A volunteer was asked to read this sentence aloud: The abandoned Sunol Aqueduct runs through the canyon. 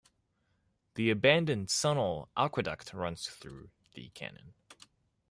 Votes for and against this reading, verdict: 2, 0, accepted